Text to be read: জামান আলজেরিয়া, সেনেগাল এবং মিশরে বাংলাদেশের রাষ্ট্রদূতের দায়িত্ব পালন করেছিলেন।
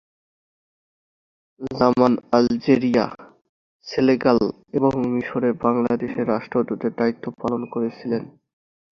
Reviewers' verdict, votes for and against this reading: rejected, 0, 2